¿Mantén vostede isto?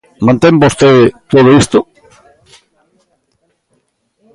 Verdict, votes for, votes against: rejected, 0, 2